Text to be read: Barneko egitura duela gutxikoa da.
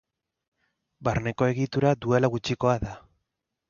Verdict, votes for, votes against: accepted, 2, 0